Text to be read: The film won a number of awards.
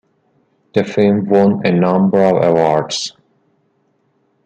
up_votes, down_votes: 2, 0